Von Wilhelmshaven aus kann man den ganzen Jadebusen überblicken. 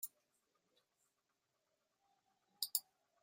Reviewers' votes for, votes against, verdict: 0, 2, rejected